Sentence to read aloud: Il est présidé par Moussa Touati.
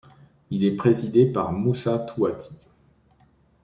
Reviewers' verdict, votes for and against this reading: accepted, 2, 0